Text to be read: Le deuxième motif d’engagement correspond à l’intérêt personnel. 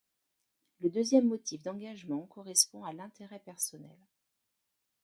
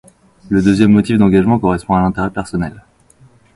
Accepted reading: second